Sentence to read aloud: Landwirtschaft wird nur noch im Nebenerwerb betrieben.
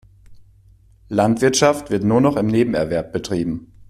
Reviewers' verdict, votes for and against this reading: accepted, 2, 0